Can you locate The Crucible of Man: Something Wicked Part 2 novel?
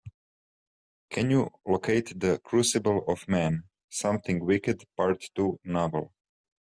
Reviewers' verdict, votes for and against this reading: rejected, 0, 2